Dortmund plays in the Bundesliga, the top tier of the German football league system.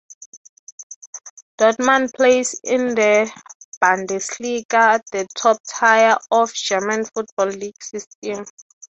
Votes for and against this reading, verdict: 0, 3, rejected